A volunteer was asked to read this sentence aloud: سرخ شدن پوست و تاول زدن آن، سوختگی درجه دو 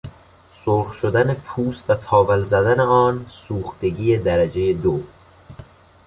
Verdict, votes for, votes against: accepted, 2, 0